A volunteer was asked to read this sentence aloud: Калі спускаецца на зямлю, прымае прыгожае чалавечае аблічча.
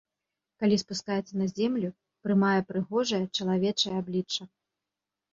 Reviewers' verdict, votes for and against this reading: rejected, 1, 2